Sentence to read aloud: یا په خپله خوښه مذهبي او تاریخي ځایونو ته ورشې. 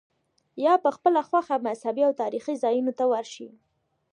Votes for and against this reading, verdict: 1, 2, rejected